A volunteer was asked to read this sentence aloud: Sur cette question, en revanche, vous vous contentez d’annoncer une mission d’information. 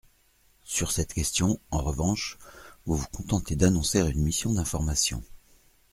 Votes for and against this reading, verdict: 2, 0, accepted